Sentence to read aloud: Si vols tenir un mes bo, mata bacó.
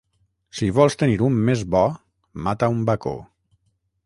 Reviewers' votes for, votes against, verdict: 3, 3, rejected